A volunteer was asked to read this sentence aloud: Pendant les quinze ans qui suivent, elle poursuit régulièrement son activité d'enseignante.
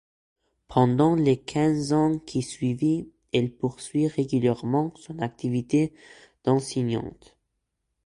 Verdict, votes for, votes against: rejected, 0, 2